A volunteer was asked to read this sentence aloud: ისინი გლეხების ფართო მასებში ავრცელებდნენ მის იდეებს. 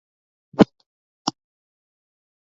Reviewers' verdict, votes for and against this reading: rejected, 1, 2